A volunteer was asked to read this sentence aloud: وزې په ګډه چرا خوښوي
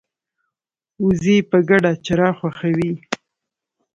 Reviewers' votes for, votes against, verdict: 2, 0, accepted